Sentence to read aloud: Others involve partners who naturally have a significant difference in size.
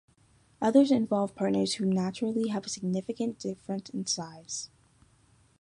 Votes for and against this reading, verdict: 2, 0, accepted